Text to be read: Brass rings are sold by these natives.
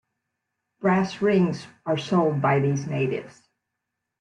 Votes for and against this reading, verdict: 2, 0, accepted